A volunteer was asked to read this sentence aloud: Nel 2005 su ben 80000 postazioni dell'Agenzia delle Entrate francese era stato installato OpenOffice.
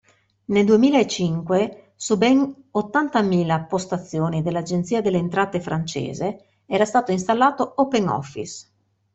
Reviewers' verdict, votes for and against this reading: rejected, 0, 2